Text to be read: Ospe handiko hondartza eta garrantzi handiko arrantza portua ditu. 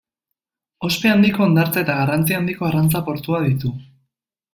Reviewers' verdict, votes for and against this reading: accepted, 2, 0